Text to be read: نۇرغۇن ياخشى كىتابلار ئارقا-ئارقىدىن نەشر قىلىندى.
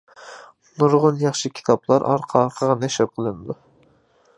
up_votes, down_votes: 0, 2